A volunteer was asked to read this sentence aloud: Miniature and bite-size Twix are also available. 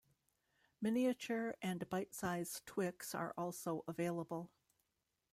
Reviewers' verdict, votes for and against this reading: accepted, 2, 0